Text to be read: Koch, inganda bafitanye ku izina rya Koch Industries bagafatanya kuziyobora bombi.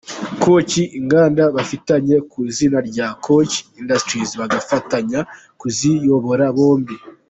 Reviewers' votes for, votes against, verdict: 2, 0, accepted